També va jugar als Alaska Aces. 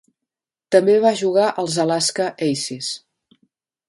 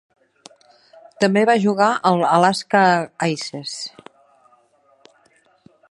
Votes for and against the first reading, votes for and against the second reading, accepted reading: 3, 0, 1, 2, first